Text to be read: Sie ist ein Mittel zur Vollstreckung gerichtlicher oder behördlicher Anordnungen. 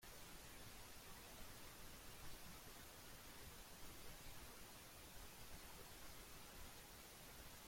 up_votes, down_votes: 0, 2